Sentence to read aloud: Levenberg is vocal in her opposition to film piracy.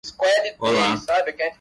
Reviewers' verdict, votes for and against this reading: rejected, 0, 2